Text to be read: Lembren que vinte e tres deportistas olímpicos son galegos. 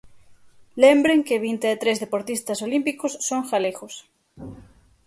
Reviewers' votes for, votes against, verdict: 6, 0, accepted